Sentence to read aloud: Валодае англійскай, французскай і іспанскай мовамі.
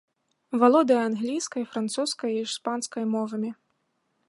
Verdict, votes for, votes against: accepted, 3, 0